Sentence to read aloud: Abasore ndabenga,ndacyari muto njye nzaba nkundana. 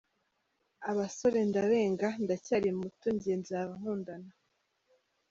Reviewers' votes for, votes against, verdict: 1, 2, rejected